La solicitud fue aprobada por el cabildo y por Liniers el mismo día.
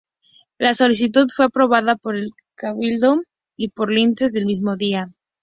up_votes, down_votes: 0, 2